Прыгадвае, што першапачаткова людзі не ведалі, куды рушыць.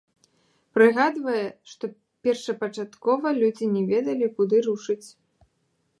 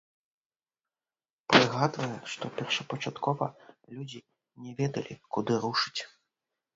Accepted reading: first